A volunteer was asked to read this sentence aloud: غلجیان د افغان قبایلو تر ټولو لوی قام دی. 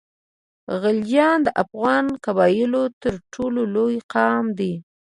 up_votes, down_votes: 2, 0